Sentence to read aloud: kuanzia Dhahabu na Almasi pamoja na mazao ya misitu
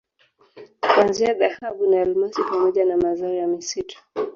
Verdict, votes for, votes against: rejected, 0, 2